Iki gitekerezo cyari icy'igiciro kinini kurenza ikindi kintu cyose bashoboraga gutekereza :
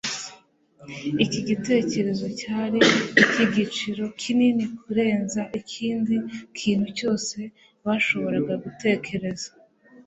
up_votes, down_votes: 2, 1